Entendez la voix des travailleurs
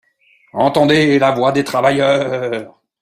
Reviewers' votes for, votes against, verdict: 1, 3, rejected